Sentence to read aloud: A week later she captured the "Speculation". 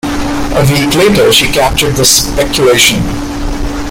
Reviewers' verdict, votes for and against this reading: accepted, 2, 0